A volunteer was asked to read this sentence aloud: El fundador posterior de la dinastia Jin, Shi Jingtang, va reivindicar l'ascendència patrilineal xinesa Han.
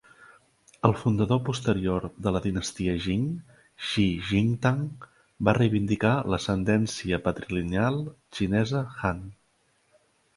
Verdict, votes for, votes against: rejected, 1, 2